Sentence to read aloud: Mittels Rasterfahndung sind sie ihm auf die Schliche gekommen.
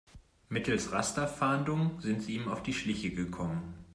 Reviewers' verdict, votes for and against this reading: accepted, 2, 0